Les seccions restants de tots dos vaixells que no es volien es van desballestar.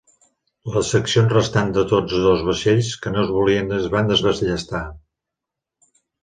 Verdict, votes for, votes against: rejected, 1, 2